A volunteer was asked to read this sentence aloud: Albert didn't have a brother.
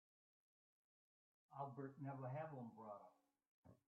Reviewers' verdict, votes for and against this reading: rejected, 0, 2